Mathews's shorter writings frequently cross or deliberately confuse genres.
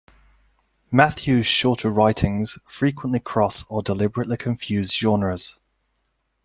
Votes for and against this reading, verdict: 2, 1, accepted